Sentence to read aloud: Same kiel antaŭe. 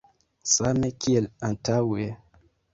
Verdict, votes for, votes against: rejected, 0, 2